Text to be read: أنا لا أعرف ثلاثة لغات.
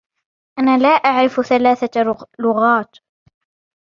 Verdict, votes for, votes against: accepted, 2, 0